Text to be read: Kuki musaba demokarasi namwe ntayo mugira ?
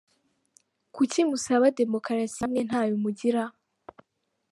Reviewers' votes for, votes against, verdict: 1, 2, rejected